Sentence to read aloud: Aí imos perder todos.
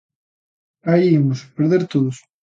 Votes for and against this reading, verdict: 1, 2, rejected